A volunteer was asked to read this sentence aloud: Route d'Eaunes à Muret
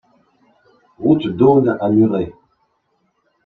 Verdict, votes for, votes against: accepted, 2, 0